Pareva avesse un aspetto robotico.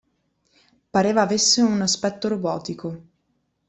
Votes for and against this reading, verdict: 2, 0, accepted